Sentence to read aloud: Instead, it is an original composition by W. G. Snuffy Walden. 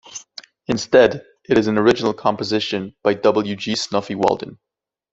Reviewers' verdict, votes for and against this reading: rejected, 1, 2